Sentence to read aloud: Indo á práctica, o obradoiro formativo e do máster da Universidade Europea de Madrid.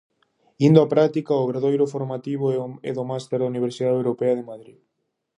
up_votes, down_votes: 2, 4